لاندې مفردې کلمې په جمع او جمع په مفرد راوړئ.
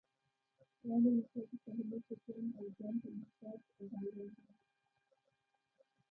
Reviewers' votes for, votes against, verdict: 0, 2, rejected